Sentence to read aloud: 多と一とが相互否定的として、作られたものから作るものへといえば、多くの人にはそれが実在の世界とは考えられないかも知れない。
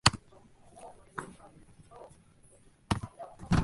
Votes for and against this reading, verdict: 0, 2, rejected